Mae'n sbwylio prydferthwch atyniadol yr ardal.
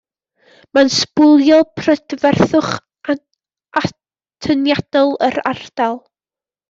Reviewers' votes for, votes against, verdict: 1, 2, rejected